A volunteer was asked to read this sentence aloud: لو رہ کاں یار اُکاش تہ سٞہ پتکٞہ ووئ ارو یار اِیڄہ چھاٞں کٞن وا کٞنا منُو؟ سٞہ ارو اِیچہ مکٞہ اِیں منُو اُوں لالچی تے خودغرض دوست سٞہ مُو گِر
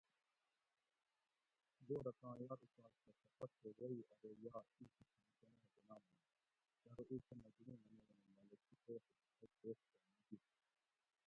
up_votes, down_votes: 0, 2